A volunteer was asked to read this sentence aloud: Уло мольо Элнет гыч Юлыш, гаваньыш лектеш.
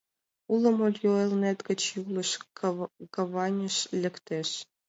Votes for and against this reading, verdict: 0, 2, rejected